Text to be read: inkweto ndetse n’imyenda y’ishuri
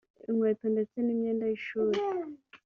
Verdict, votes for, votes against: accepted, 3, 0